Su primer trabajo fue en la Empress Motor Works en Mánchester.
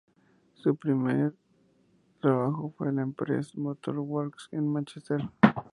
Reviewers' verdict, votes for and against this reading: rejected, 0, 2